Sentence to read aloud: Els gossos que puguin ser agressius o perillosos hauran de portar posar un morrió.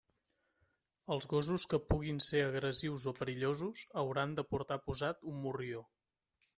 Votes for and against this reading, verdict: 1, 2, rejected